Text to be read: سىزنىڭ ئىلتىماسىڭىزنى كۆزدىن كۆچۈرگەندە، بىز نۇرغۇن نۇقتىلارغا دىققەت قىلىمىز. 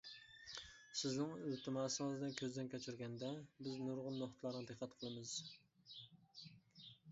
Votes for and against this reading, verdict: 2, 0, accepted